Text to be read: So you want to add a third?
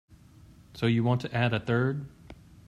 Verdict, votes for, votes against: accepted, 2, 0